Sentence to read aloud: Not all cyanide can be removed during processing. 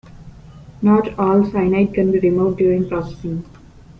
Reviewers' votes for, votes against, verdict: 2, 1, accepted